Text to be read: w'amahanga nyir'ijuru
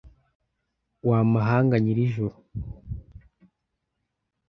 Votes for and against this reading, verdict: 0, 2, rejected